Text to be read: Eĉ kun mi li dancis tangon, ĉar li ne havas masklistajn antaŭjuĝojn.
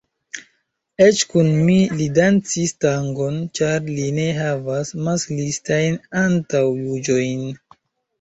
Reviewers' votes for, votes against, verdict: 2, 0, accepted